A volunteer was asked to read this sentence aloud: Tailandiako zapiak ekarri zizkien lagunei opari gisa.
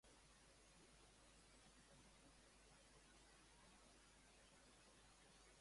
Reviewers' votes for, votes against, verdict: 0, 2, rejected